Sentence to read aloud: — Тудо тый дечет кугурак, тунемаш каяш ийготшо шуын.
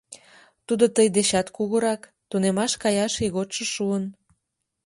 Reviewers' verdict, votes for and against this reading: rejected, 1, 2